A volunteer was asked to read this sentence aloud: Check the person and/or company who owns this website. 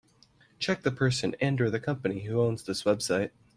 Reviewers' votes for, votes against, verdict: 0, 2, rejected